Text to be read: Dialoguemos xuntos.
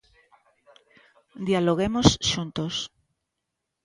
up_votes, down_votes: 2, 1